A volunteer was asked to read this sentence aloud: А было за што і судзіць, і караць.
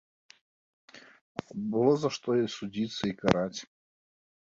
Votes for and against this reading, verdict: 2, 1, accepted